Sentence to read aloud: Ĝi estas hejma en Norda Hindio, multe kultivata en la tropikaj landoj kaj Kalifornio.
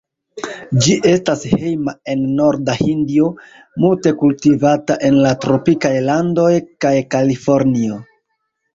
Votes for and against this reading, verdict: 0, 2, rejected